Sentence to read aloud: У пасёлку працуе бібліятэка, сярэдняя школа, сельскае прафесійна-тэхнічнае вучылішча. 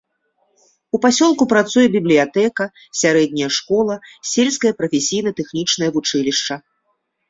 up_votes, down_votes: 2, 0